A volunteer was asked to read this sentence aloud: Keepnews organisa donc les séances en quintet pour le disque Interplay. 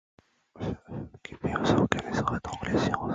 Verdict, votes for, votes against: rejected, 0, 2